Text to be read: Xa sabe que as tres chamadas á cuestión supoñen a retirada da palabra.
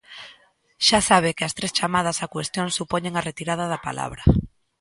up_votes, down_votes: 2, 0